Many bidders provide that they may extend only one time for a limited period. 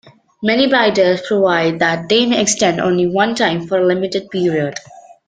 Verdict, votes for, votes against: rejected, 1, 2